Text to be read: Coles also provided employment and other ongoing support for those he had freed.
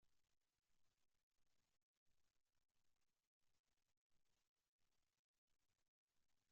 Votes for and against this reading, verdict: 0, 2, rejected